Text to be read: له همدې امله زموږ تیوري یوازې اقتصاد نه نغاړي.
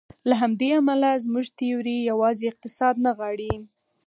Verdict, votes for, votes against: accepted, 4, 0